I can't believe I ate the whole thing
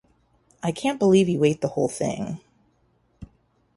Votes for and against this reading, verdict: 0, 2, rejected